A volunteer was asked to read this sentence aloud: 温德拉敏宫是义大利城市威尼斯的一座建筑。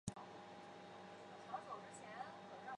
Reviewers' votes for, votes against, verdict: 0, 3, rejected